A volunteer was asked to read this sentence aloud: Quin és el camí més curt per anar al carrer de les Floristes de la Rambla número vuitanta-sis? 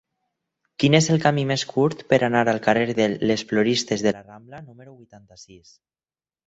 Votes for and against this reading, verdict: 0, 4, rejected